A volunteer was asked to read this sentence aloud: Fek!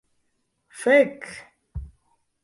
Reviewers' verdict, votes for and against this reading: accepted, 2, 0